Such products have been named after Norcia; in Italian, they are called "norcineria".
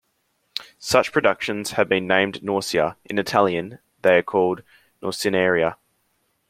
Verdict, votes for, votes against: rejected, 0, 3